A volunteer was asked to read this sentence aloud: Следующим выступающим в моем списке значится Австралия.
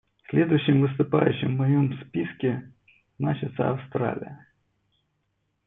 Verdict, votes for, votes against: accepted, 2, 0